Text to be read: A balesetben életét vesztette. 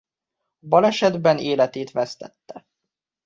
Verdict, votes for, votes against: rejected, 0, 2